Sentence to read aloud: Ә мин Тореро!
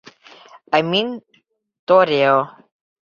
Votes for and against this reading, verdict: 0, 2, rejected